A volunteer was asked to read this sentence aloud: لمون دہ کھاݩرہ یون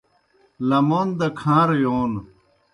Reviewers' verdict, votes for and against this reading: accepted, 2, 0